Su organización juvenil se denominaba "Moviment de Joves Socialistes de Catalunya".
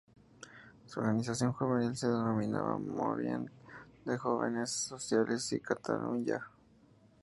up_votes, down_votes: 0, 2